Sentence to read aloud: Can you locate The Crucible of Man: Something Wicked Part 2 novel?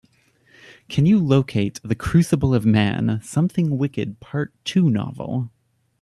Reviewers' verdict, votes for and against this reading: rejected, 0, 2